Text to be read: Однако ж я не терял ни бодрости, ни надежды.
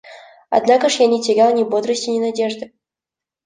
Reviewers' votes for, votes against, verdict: 2, 0, accepted